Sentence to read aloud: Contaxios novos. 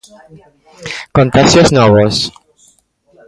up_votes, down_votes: 2, 0